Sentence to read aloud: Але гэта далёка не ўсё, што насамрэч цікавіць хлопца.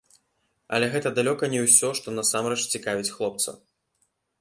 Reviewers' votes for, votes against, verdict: 1, 2, rejected